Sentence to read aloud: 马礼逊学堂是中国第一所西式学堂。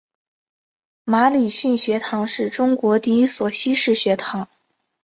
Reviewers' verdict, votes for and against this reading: accepted, 2, 0